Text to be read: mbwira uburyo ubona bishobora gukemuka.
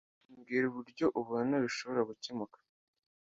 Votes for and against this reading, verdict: 2, 0, accepted